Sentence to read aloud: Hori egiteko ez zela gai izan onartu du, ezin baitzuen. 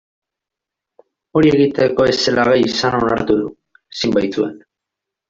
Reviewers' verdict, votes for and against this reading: accepted, 2, 1